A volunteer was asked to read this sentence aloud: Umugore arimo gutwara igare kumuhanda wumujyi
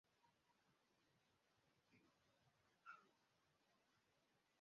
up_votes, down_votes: 0, 2